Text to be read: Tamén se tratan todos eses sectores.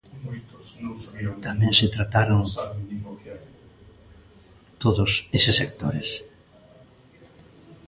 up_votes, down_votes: 0, 2